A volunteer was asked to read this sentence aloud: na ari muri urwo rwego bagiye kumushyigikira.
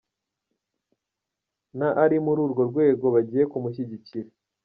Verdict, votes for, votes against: rejected, 1, 2